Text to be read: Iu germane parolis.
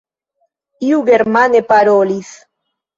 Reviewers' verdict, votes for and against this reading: rejected, 1, 2